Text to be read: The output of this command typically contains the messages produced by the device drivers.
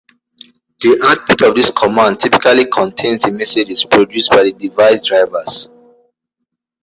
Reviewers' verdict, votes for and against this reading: accepted, 2, 1